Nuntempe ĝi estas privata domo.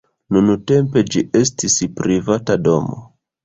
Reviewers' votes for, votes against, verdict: 2, 1, accepted